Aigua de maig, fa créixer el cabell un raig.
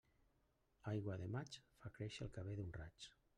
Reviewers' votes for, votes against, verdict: 0, 2, rejected